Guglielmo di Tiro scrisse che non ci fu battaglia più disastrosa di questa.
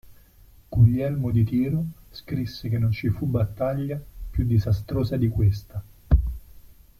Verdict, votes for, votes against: accepted, 2, 0